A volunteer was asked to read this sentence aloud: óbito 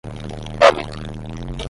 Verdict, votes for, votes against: rejected, 5, 10